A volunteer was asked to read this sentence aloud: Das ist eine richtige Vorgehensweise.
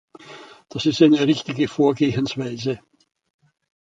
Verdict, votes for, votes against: accepted, 2, 0